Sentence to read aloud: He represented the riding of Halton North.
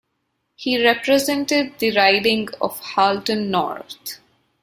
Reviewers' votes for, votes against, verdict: 2, 0, accepted